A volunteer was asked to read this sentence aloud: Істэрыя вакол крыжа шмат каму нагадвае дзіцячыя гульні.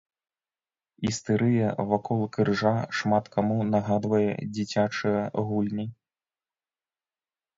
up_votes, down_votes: 2, 0